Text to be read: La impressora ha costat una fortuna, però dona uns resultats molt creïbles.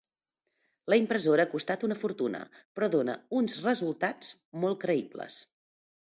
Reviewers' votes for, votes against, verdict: 2, 0, accepted